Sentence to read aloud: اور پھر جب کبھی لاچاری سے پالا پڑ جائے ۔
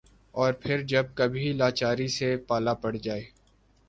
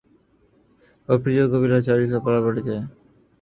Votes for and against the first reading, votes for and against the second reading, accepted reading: 2, 0, 3, 9, first